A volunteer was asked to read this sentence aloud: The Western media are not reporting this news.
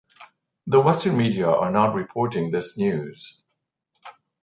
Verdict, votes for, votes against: accepted, 2, 0